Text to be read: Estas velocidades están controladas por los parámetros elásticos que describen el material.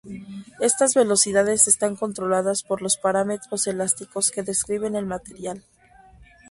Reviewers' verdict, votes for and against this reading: accepted, 2, 0